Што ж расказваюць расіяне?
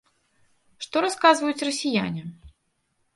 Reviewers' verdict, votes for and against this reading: rejected, 1, 2